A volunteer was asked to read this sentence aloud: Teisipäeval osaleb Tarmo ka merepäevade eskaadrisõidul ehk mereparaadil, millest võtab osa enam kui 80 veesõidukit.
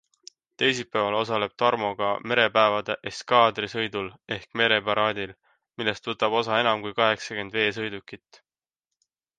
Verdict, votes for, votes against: rejected, 0, 2